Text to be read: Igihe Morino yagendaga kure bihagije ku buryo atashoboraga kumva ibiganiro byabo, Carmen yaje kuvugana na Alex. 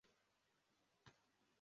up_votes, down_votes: 0, 2